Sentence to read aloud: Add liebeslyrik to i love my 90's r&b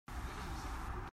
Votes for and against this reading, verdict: 0, 2, rejected